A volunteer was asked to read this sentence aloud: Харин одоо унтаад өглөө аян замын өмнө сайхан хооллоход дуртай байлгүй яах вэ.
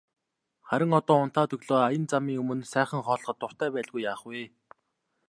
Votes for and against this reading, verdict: 2, 0, accepted